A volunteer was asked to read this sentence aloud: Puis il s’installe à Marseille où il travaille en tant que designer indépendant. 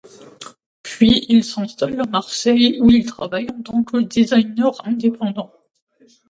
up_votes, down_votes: 2, 1